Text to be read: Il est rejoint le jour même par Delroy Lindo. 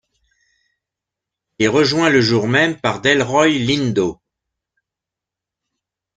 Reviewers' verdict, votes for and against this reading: rejected, 0, 2